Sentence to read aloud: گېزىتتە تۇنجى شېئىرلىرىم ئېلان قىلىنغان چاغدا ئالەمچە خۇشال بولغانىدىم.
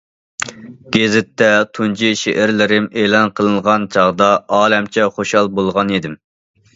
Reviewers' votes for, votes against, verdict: 2, 0, accepted